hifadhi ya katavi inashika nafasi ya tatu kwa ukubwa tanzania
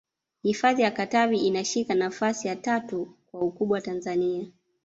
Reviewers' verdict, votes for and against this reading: accepted, 2, 0